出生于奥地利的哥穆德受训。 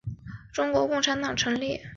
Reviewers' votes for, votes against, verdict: 2, 3, rejected